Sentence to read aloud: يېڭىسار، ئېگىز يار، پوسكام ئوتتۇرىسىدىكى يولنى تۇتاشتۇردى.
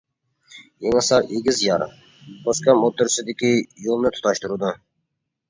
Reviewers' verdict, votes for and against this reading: rejected, 0, 2